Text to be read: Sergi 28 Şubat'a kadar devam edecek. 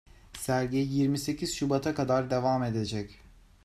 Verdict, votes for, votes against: rejected, 0, 2